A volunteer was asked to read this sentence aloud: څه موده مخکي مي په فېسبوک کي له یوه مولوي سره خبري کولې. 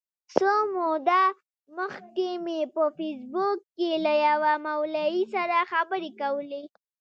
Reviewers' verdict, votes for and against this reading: accepted, 2, 1